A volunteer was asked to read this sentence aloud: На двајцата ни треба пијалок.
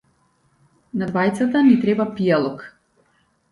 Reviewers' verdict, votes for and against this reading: accepted, 2, 0